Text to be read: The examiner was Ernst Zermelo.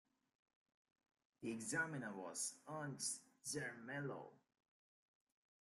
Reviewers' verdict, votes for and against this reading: accepted, 2, 0